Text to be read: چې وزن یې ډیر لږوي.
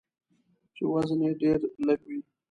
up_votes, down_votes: 2, 0